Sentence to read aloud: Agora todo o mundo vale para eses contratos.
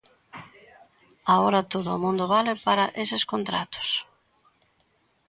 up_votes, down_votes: 2, 1